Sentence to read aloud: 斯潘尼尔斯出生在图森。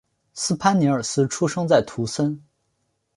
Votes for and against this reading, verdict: 2, 0, accepted